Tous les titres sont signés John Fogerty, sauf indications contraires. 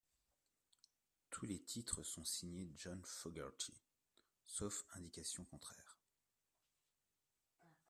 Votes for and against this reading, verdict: 2, 0, accepted